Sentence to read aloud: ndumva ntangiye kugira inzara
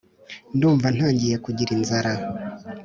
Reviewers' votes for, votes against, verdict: 4, 0, accepted